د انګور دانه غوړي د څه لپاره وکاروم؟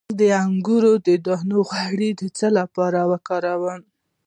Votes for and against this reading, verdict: 1, 2, rejected